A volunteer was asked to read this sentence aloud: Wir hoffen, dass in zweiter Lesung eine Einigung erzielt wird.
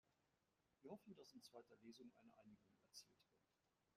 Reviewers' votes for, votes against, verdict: 0, 2, rejected